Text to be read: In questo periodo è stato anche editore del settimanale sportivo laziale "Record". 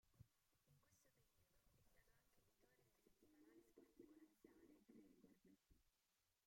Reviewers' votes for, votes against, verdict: 0, 2, rejected